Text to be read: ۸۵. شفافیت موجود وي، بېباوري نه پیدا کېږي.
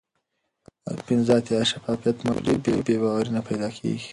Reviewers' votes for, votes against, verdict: 0, 2, rejected